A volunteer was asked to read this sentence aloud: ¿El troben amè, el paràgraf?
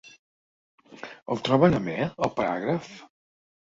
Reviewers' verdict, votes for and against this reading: accepted, 2, 0